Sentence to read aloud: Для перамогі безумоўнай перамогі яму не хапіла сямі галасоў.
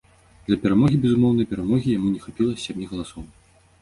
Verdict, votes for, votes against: accepted, 2, 0